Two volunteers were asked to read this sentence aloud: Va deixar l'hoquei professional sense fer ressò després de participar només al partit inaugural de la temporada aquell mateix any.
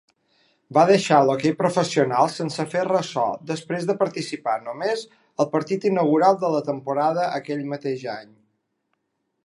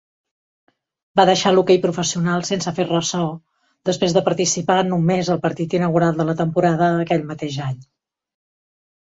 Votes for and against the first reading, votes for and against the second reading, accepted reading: 2, 0, 1, 2, first